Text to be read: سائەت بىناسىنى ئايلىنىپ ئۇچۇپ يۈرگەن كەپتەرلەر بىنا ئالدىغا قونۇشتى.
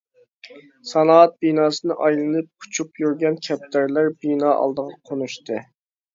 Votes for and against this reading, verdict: 1, 2, rejected